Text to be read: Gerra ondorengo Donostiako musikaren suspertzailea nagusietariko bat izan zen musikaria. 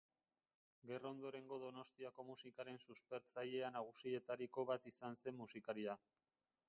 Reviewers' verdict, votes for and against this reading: rejected, 0, 2